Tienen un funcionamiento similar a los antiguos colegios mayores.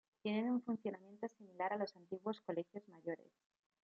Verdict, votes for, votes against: rejected, 1, 2